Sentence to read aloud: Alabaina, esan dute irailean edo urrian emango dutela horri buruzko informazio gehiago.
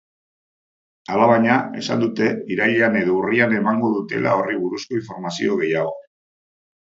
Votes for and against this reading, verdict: 2, 0, accepted